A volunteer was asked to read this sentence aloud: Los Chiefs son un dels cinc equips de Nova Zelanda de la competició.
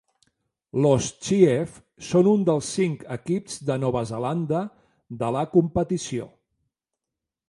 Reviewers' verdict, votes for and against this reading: accepted, 2, 0